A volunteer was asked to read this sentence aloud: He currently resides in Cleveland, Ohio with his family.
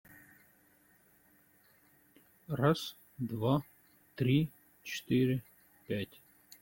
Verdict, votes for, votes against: rejected, 0, 2